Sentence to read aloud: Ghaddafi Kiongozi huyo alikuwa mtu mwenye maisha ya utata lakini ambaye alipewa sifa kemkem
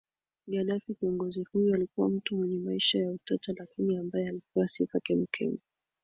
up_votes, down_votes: 3, 1